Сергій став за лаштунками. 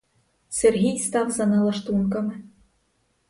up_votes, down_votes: 0, 4